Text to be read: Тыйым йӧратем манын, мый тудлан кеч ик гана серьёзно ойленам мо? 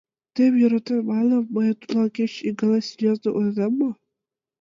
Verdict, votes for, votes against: rejected, 0, 2